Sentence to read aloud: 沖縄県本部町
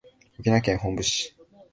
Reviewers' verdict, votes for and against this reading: rejected, 0, 2